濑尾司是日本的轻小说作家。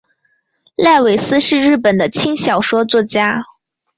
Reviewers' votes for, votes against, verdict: 2, 0, accepted